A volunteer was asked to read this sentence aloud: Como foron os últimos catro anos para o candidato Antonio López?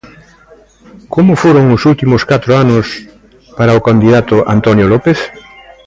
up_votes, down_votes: 2, 0